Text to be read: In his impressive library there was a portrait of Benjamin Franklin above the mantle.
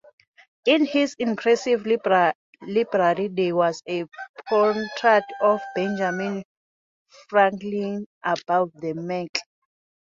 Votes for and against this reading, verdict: 0, 2, rejected